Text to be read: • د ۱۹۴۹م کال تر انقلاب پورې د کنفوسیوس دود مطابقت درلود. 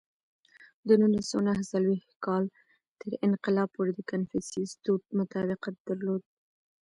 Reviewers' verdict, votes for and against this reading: rejected, 0, 2